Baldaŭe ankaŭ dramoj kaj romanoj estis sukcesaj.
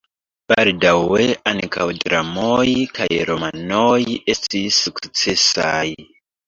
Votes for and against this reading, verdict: 2, 0, accepted